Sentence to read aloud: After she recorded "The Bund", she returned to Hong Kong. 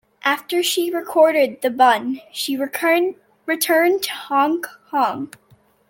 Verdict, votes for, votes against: rejected, 0, 2